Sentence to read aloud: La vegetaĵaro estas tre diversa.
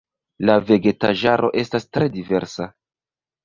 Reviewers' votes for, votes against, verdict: 2, 1, accepted